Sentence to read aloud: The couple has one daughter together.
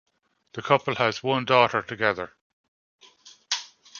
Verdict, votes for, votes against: accepted, 2, 0